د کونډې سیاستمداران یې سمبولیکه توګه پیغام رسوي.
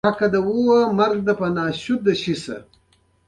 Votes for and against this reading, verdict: 1, 2, rejected